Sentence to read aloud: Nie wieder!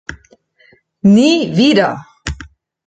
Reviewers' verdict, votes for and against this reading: accepted, 2, 1